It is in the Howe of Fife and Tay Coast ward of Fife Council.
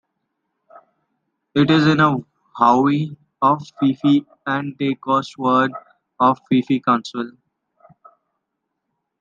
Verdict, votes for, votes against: rejected, 0, 2